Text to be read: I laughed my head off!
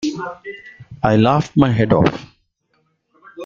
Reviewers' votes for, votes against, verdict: 2, 1, accepted